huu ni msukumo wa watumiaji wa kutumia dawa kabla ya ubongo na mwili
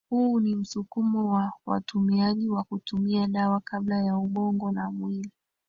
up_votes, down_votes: 2, 1